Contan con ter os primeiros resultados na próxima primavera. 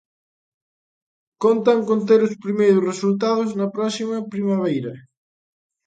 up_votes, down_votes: 0, 2